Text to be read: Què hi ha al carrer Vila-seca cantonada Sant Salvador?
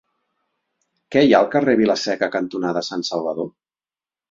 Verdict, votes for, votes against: accepted, 6, 0